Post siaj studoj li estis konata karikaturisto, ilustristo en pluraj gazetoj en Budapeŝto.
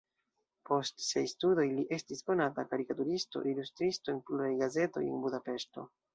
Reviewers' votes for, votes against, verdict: 0, 2, rejected